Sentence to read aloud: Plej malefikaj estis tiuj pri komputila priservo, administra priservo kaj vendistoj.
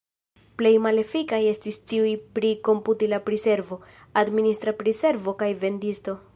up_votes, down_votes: 0, 2